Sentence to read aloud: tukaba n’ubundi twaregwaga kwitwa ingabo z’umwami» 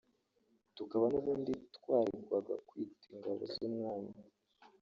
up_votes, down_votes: 1, 2